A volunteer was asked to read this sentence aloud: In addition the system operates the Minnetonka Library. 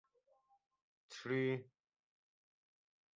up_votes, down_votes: 0, 2